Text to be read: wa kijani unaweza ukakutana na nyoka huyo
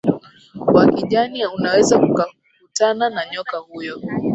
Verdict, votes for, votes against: rejected, 0, 2